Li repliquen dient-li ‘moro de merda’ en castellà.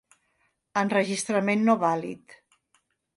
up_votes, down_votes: 1, 2